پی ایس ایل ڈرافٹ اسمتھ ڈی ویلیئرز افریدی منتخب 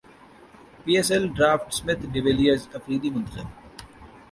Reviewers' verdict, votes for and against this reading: accepted, 2, 0